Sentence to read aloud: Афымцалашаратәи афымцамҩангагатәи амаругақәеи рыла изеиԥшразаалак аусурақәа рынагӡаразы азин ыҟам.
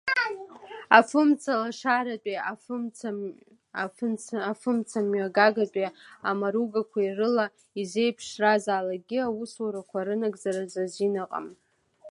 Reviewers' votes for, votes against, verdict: 0, 2, rejected